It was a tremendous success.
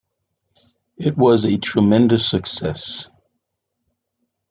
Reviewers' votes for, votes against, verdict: 2, 0, accepted